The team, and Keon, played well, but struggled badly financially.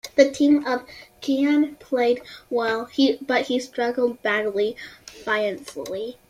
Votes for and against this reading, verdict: 0, 2, rejected